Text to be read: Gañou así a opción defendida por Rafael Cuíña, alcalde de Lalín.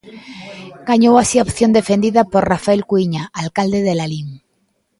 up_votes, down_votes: 2, 0